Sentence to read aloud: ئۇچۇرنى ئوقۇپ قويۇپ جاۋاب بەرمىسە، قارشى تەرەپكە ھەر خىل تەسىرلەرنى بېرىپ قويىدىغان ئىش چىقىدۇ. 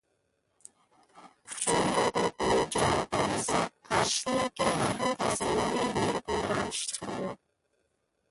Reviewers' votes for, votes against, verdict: 0, 2, rejected